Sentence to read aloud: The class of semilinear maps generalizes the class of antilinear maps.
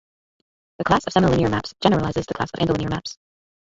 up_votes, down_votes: 0, 2